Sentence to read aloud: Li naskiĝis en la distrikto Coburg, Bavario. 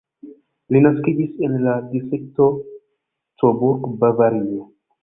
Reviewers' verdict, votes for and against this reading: accepted, 2, 1